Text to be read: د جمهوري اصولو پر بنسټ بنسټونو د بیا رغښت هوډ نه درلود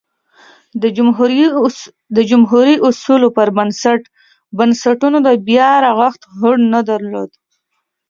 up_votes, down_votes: 2, 1